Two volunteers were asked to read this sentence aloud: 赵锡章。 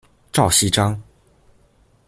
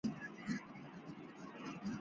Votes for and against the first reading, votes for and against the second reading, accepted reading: 2, 0, 2, 2, first